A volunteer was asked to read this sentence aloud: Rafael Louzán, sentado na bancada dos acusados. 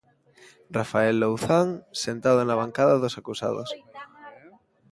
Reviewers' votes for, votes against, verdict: 0, 2, rejected